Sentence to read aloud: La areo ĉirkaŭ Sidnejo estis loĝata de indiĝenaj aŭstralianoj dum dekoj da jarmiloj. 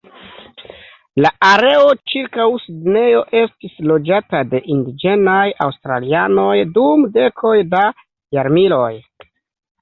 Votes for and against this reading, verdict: 2, 0, accepted